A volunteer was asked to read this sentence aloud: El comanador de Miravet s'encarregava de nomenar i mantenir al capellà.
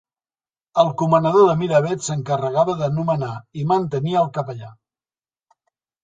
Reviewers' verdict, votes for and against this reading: rejected, 1, 2